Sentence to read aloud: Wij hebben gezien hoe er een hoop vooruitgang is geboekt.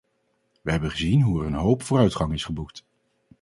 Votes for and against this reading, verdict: 4, 0, accepted